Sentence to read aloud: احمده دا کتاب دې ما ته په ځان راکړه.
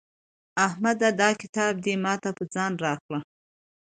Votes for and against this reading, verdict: 2, 0, accepted